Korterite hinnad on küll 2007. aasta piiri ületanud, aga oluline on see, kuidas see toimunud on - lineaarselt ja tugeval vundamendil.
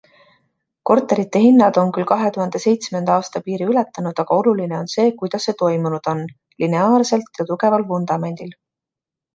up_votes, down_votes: 0, 2